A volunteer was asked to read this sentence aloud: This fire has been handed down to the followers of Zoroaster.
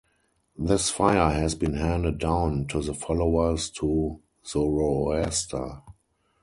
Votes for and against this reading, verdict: 0, 4, rejected